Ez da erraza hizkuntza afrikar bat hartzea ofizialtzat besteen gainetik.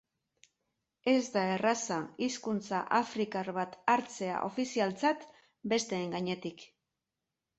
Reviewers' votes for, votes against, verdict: 3, 0, accepted